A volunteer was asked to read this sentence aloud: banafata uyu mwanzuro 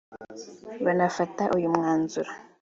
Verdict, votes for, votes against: accepted, 2, 0